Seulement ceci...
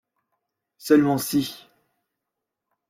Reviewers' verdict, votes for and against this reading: rejected, 0, 2